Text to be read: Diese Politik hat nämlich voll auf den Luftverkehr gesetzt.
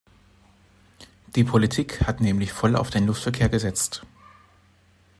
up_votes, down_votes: 0, 2